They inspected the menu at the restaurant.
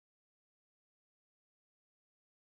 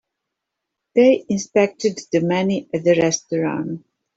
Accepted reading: second